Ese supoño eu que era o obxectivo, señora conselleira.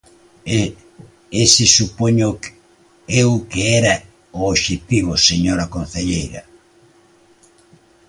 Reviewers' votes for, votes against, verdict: 0, 2, rejected